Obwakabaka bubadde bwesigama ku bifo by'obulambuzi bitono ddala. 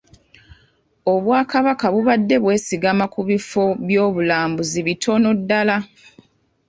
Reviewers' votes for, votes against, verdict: 2, 0, accepted